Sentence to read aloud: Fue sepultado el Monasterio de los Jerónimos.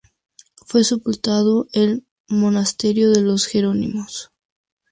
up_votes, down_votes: 2, 2